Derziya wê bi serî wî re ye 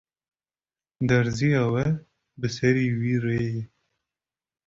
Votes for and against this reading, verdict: 0, 2, rejected